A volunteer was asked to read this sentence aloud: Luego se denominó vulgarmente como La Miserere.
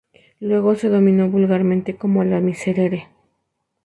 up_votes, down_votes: 0, 2